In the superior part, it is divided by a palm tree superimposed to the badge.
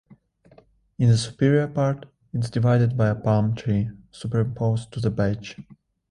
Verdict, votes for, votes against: rejected, 1, 2